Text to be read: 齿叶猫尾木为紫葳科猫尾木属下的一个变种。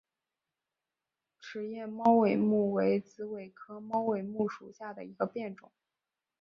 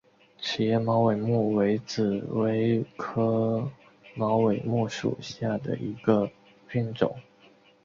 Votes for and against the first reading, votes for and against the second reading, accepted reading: 1, 2, 2, 0, second